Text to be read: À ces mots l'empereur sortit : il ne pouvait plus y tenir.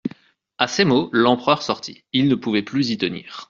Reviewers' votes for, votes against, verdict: 2, 0, accepted